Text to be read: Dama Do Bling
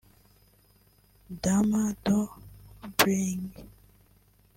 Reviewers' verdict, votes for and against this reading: rejected, 1, 2